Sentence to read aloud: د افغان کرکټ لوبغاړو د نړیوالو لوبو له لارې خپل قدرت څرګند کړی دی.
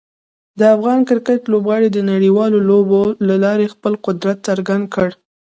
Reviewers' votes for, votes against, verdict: 1, 2, rejected